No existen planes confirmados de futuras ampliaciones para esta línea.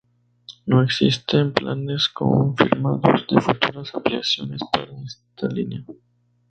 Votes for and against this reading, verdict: 2, 0, accepted